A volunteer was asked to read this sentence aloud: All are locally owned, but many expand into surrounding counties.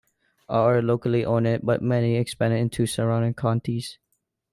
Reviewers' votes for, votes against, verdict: 0, 2, rejected